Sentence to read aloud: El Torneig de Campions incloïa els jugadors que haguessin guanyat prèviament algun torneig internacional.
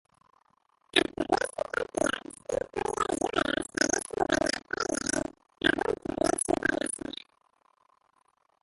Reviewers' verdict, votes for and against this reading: rejected, 0, 3